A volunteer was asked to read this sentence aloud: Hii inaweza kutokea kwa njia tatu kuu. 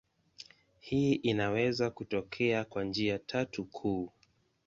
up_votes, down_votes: 2, 0